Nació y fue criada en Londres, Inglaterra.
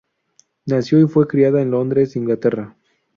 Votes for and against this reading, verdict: 4, 0, accepted